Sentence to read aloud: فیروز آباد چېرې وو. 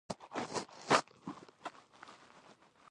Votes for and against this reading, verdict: 1, 2, rejected